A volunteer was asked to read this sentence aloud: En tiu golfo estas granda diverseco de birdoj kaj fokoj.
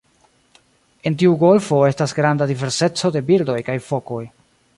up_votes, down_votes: 2, 0